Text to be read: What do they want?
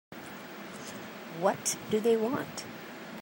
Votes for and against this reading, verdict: 2, 1, accepted